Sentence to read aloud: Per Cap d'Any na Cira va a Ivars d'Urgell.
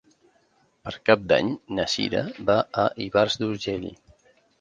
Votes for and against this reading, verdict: 3, 0, accepted